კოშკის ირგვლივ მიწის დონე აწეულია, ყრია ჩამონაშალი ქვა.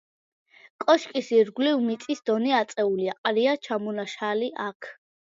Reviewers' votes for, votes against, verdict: 0, 2, rejected